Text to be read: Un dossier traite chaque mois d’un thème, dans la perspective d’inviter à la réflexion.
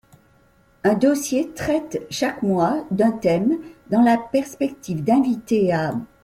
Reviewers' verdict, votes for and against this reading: rejected, 0, 2